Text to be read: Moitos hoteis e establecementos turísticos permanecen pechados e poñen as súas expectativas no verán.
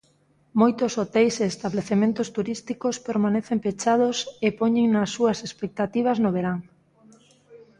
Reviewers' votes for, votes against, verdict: 0, 2, rejected